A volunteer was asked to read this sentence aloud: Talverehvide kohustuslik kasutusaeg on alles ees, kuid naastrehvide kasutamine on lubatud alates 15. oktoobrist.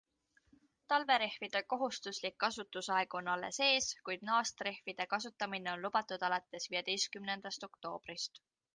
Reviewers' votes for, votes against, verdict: 0, 2, rejected